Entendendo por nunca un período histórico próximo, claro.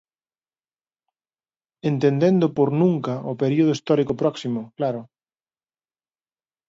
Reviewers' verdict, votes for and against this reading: rejected, 0, 2